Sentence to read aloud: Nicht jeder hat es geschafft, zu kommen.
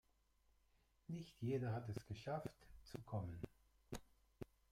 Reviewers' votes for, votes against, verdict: 0, 2, rejected